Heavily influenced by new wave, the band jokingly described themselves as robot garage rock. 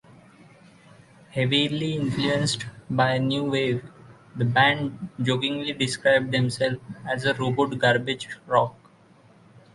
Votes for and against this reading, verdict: 0, 2, rejected